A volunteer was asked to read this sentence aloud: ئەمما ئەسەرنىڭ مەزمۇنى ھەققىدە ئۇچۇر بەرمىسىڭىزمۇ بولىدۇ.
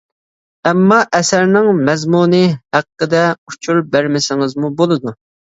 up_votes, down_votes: 2, 0